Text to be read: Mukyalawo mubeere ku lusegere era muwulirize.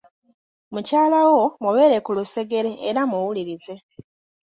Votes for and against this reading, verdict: 2, 0, accepted